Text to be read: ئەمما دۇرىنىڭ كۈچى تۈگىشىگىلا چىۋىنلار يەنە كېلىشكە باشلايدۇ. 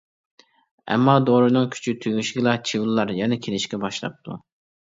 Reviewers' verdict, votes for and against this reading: rejected, 0, 2